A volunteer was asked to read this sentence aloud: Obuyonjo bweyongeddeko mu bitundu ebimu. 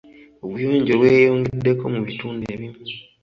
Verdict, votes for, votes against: accepted, 2, 1